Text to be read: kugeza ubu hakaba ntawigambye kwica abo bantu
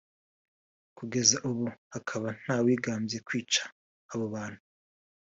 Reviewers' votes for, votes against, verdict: 3, 0, accepted